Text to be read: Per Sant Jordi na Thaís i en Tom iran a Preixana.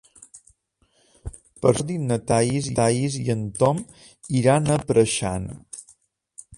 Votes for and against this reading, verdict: 0, 2, rejected